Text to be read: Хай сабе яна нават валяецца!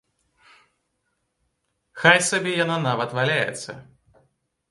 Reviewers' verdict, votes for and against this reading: accepted, 3, 0